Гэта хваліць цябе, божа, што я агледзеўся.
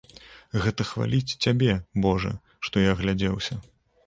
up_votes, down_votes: 1, 2